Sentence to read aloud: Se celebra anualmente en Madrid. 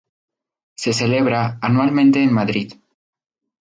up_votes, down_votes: 2, 0